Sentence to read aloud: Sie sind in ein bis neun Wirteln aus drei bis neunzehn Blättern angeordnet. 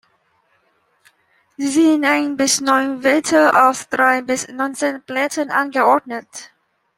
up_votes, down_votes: 0, 2